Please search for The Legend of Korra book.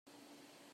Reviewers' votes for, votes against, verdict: 0, 3, rejected